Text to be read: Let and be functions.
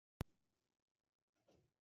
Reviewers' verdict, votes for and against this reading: rejected, 0, 2